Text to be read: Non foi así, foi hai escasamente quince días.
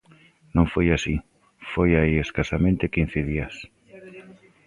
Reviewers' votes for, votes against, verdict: 0, 2, rejected